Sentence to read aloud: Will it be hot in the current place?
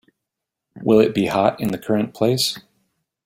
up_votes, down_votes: 2, 0